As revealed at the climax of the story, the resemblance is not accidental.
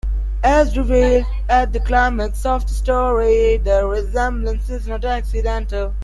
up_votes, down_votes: 2, 1